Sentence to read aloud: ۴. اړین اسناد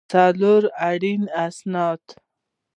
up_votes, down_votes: 0, 2